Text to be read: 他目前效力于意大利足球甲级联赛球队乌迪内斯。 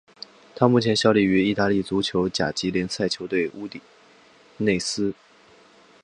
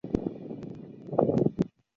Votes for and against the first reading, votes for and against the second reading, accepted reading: 4, 0, 1, 2, first